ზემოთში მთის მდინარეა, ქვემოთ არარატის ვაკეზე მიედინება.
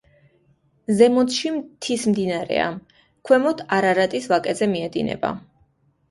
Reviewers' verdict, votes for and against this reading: accepted, 2, 0